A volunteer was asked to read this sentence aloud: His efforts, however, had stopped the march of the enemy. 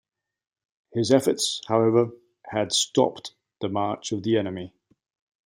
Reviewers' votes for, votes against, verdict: 2, 0, accepted